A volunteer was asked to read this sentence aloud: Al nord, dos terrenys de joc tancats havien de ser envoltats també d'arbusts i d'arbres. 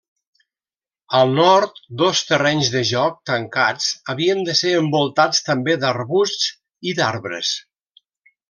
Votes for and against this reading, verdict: 3, 0, accepted